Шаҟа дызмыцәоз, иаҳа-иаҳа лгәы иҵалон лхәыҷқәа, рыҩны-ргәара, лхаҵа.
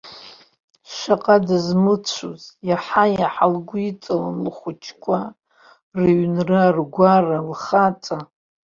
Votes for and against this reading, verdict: 2, 1, accepted